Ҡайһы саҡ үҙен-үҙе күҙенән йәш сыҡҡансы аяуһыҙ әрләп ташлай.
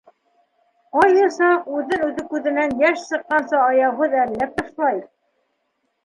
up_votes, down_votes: 2, 1